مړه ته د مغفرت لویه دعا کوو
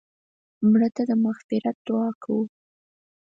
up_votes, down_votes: 2, 4